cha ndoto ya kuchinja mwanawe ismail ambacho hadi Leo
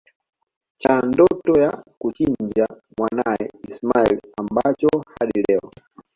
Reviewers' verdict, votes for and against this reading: rejected, 1, 2